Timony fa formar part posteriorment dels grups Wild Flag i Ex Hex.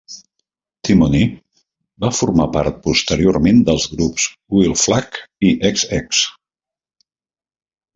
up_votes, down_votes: 0, 2